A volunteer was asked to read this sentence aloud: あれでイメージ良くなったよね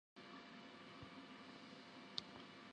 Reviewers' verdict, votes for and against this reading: rejected, 0, 2